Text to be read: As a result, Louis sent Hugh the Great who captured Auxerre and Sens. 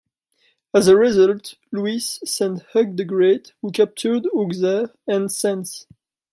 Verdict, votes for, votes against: rejected, 1, 2